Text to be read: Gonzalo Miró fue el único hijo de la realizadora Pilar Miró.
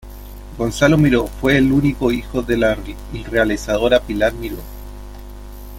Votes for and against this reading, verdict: 2, 1, accepted